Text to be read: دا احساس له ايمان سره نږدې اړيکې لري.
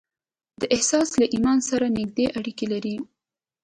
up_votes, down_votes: 2, 0